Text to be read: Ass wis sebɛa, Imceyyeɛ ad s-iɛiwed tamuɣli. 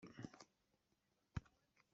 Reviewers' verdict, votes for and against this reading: rejected, 0, 2